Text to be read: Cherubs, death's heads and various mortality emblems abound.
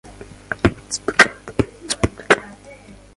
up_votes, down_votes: 0, 2